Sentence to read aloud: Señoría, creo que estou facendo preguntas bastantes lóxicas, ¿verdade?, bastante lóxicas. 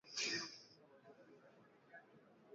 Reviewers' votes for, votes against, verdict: 0, 2, rejected